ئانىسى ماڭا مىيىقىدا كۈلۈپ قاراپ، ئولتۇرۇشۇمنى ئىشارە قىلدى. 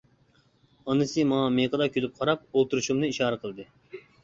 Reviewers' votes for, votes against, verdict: 2, 0, accepted